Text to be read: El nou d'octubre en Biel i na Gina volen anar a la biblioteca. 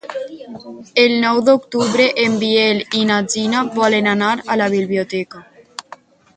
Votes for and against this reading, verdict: 4, 2, accepted